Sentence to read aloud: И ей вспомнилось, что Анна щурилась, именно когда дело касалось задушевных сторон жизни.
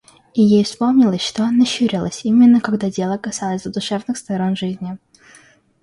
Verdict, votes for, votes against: accepted, 2, 0